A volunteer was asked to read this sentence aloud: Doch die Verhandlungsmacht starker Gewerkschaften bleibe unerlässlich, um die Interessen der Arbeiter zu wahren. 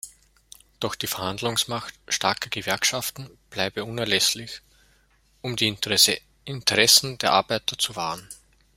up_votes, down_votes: 1, 2